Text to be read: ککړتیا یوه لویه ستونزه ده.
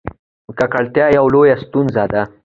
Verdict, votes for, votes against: accepted, 2, 0